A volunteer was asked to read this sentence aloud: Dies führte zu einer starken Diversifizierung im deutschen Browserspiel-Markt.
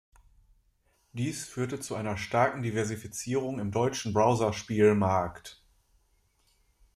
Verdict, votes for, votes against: accepted, 2, 0